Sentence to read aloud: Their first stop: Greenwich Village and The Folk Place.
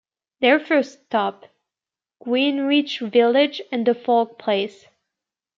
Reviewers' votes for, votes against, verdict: 1, 2, rejected